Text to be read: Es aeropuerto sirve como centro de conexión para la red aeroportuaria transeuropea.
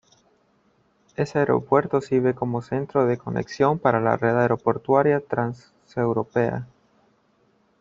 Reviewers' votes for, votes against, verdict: 0, 2, rejected